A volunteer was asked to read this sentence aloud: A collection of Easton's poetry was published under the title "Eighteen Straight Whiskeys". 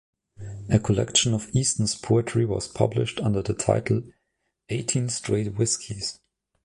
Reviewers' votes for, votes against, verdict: 2, 0, accepted